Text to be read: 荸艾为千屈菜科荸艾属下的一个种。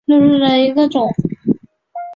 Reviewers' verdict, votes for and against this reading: rejected, 1, 4